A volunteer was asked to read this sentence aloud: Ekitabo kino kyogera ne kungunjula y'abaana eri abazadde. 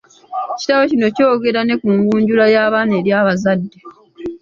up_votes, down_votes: 0, 2